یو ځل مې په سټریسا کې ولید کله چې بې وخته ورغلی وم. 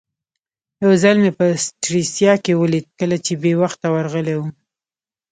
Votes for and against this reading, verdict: 2, 0, accepted